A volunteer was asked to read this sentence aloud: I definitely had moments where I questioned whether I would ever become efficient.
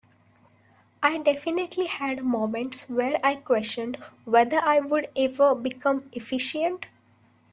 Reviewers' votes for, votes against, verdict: 2, 0, accepted